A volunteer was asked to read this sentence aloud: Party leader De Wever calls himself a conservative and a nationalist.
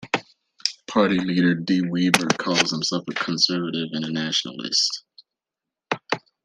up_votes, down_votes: 2, 0